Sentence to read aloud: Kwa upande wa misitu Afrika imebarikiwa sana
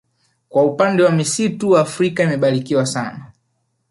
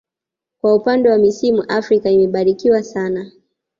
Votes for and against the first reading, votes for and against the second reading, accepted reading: 3, 1, 1, 2, first